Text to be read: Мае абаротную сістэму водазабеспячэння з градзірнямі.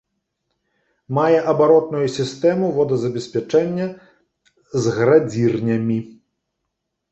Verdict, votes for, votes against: accepted, 2, 0